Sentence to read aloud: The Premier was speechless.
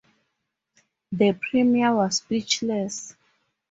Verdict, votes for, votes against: accepted, 2, 0